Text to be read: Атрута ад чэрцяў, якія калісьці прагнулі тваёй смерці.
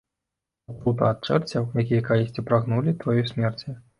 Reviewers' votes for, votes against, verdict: 1, 2, rejected